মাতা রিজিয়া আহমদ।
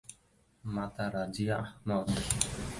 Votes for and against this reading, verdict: 0, 3, rejected